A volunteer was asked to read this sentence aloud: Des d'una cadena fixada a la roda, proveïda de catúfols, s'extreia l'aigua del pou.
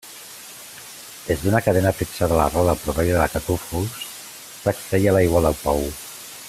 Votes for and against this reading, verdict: 2, 0, accepted